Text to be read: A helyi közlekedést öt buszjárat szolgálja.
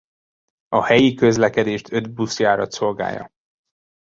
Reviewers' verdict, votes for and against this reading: accepted, 2, 0